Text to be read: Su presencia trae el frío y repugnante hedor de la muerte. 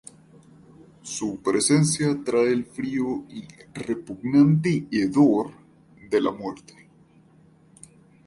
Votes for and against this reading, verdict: 2, 2, rejected